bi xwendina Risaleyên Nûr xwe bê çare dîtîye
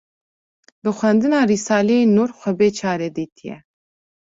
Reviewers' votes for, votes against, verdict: 2, 0, accepted